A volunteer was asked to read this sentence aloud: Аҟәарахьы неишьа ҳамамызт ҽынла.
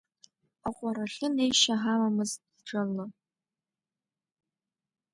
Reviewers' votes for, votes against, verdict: 2, 0, accepted